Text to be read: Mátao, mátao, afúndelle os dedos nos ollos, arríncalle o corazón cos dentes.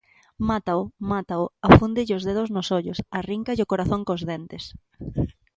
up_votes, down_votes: 4, 0